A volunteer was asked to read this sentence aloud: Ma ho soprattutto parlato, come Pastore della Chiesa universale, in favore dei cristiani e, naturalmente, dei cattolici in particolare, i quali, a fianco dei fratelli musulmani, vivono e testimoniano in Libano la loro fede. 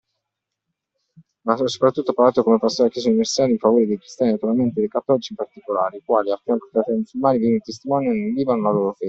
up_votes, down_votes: 0, 2